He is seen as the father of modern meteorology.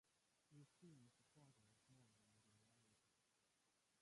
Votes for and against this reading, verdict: 0, 2, rejected